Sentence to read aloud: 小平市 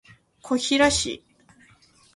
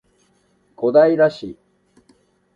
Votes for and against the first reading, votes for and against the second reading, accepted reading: 1, 2, 2, 0, second